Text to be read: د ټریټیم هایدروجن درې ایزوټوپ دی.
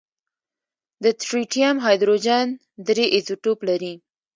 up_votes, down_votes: 2, 0